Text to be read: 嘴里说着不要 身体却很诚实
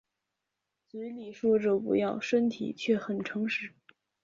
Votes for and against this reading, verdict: 3, 0, accepted